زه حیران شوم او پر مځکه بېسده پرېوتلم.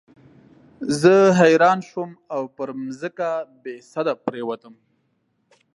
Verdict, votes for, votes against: accepted, 2, 1